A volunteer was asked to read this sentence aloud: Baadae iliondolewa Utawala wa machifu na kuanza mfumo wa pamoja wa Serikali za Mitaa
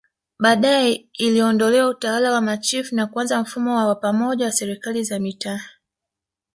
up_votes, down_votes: 1, 2